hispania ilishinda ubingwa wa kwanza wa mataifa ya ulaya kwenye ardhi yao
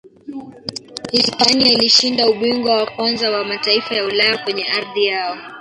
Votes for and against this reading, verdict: 1, 3, rejected